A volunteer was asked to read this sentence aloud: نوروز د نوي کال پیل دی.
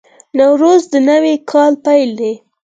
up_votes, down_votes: 4, 0